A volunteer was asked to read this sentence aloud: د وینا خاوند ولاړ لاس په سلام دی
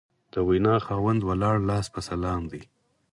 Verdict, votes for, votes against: accepted, 4, 0